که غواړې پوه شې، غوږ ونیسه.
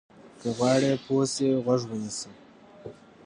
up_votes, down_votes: 1, 2